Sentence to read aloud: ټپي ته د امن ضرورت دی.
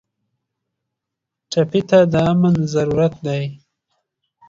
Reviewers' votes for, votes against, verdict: 2, 0, accepted